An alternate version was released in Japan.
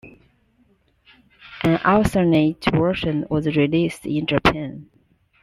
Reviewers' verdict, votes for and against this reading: rejected, 0, 2